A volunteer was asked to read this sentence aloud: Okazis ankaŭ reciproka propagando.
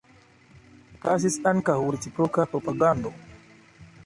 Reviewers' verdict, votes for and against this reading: rejected, 1, 2